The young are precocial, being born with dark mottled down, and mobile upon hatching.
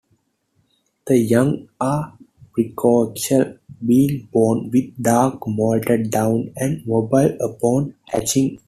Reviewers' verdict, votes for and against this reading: rejected, 1, 2